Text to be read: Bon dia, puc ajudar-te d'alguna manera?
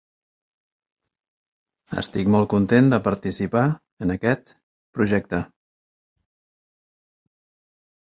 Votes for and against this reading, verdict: 0, 2, rejected